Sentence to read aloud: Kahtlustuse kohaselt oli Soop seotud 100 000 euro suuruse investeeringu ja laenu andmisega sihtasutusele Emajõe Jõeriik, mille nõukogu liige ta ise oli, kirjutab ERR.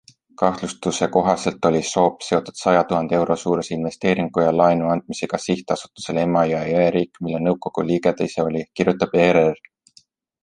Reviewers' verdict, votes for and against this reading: rejected, 0, 2